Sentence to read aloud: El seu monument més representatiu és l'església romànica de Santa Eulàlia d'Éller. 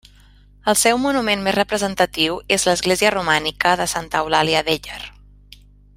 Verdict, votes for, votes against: accepted, 3, 0